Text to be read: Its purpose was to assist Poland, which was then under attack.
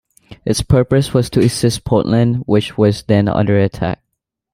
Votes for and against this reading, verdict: 2, 0, accepted